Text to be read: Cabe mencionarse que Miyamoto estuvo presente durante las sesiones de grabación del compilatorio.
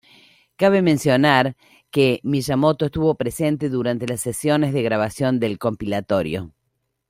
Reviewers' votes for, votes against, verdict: 0, 2, rejected